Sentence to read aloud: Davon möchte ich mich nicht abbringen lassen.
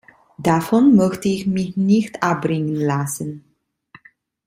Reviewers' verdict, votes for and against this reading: rejected, 1, 2